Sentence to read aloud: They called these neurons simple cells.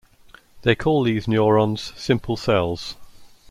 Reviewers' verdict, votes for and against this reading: rejected, 0, 2